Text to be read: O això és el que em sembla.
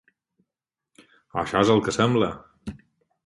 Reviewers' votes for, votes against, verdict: 4, 2, accepted